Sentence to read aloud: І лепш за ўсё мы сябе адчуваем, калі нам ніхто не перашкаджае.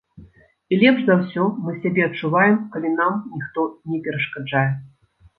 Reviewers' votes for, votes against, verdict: 2, 0, accepted